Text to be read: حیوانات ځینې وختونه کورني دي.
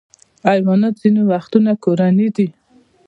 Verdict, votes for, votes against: accepted, 2, 0